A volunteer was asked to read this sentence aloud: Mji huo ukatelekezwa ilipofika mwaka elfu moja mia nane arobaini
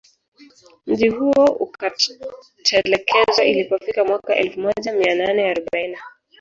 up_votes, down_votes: 1, 2